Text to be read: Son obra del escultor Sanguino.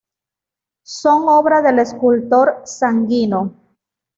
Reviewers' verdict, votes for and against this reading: rejected, 0, 2